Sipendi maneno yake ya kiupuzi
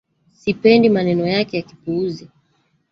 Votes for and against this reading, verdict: 2, 1, accepted